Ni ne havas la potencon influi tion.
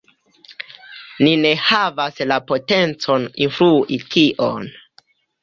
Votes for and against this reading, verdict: 2, 0, accepted